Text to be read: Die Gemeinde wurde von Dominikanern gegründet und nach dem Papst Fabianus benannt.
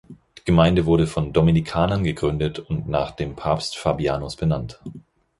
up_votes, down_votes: 2, 4